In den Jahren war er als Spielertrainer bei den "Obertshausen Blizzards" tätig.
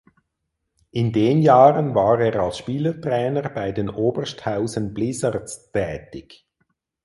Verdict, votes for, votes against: rejected, 0, 4